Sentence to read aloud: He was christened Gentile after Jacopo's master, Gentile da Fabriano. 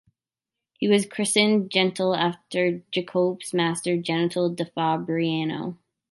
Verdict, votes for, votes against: rejected, 0, 2